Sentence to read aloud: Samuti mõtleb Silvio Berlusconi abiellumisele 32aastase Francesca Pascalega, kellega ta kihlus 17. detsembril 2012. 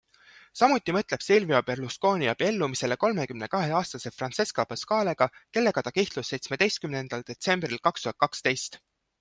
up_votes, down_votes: 0, 2